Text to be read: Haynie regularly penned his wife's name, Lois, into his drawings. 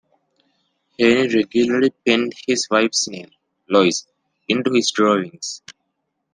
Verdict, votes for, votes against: accepted, 2, 0